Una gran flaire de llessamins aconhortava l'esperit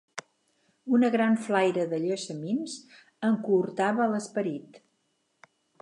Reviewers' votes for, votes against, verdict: 4, 0, accepted